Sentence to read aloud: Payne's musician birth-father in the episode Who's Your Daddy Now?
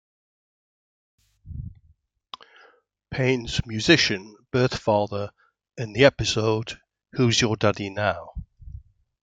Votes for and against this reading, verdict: 1, 2, rejected